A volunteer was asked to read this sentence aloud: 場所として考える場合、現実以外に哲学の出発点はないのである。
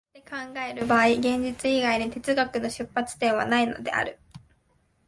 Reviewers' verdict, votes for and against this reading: rejected, 1, 2